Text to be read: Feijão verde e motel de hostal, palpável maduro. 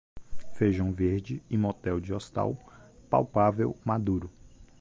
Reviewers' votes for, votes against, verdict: 2, 1, accepted